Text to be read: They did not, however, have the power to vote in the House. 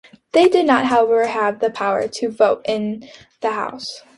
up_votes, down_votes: 2, 0